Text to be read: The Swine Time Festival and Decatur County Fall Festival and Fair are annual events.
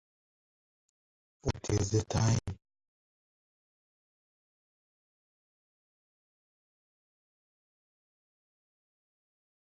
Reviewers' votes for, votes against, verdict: 0, 2, rejected